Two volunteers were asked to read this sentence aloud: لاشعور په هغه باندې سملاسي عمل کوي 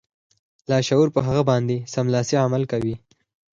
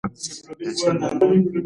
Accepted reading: first